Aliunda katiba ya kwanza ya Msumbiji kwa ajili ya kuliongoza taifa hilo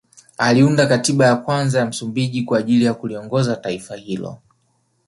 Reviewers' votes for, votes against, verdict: 1, 2, rejected